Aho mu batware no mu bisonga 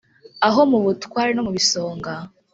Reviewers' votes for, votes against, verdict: 1, 2, rejected